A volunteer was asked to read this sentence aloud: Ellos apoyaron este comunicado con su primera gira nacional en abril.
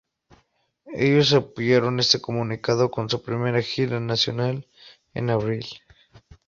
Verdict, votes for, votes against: rejected, 0, 2